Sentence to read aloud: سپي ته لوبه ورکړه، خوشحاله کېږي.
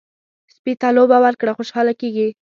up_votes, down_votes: 2, 0